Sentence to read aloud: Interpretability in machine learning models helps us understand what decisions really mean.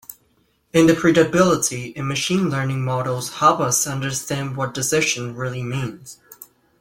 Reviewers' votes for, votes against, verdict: 0, 2, rejected